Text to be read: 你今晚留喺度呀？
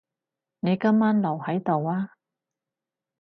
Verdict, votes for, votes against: accepted, 4, 0